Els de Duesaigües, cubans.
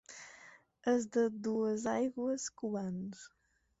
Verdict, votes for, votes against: accepted, 4, 2